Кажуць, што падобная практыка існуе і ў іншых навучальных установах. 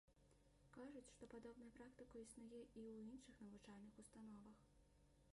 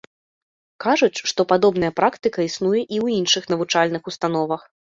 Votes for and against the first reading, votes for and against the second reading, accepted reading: 0, 2, 2, 0, second